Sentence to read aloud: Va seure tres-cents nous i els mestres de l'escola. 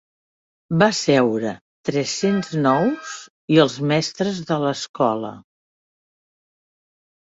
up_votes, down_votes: 3, 0